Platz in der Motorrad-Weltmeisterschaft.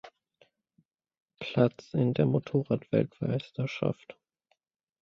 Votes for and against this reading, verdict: 2, 1, accepted